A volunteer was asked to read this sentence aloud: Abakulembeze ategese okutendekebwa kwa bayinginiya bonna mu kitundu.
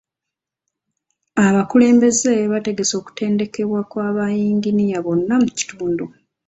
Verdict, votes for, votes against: rejected, 0, 2